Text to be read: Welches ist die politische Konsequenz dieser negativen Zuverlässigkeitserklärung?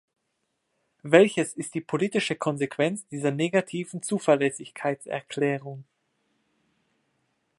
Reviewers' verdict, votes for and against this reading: accepted, 2, 0